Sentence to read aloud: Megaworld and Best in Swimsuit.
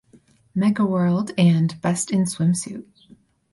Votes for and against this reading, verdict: 4, 0, accepted